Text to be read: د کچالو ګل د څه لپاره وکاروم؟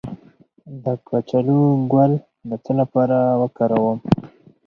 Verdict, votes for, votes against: accepted, 4, 0